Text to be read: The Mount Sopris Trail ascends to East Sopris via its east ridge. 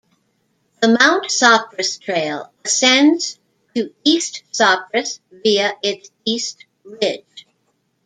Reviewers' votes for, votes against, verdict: 1, 2, rejected